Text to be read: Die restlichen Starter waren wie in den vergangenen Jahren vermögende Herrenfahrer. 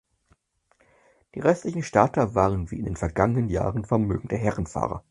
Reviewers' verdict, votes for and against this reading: accepted, 4, 0